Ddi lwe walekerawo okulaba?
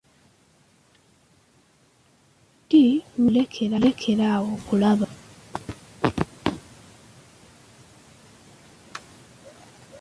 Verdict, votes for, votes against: rejected, 1, 2